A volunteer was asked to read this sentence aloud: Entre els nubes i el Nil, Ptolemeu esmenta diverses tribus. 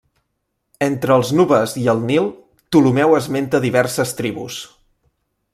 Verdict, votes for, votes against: accepted, 2, 0